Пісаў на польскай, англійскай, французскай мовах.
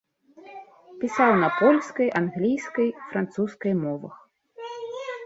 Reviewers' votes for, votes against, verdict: 1, 2, rejected